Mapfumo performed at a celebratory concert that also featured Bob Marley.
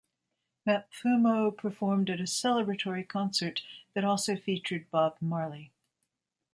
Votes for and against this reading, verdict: 1, 2, rejected